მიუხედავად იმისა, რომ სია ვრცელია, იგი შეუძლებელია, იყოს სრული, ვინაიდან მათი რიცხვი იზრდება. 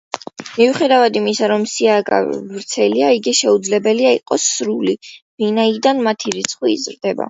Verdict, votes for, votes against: accepted, 2, 0